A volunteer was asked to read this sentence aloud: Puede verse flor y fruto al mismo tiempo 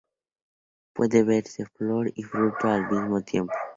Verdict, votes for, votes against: accepted, 2, 0